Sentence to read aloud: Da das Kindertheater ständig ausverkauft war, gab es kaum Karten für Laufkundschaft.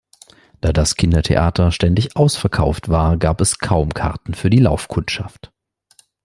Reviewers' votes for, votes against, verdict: 0, 2, rejected